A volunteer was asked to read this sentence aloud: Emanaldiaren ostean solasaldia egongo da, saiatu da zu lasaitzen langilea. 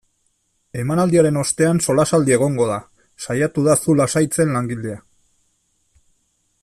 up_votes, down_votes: 2, 0